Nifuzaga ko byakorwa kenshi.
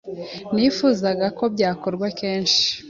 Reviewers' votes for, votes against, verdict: 2, 0, accepted